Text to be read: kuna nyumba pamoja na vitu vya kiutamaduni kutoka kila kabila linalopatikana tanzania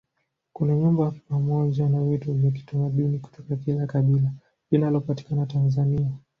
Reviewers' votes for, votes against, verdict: 2, 0, accepted